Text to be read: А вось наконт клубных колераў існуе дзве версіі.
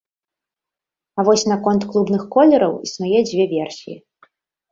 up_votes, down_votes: 3, 0